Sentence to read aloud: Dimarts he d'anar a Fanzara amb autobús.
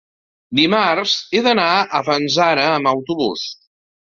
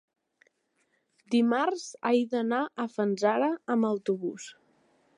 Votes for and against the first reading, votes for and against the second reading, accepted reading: 4, 1, 0, 2, first